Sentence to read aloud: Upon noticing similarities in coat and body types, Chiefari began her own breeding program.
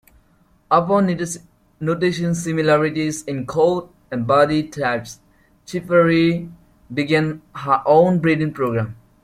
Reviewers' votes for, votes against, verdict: 2, 1, accepted